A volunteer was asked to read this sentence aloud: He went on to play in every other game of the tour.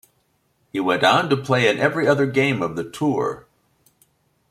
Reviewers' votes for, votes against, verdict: 2, 0, accepted